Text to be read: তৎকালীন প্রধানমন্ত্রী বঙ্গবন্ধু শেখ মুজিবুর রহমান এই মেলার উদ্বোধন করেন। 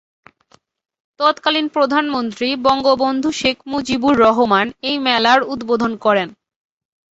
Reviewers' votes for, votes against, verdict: 2, 0, accepted